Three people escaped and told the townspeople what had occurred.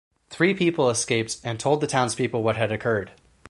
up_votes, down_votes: 4, 0